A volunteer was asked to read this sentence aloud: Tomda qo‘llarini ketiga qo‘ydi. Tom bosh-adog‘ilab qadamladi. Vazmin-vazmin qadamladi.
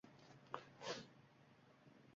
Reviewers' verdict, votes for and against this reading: rejected, 1, 2